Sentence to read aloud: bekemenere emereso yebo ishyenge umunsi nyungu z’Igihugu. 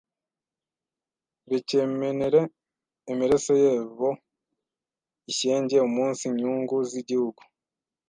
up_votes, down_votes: 1, 2